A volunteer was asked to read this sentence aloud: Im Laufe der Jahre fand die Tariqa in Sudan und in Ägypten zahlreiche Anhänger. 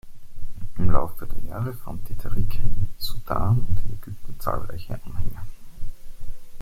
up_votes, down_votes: 0, 2